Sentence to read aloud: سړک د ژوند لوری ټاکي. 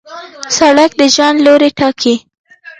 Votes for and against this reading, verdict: 2, 0, accepted